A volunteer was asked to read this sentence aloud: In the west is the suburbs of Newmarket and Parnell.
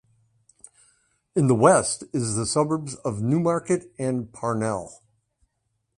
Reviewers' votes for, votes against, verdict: 2, 0, accepted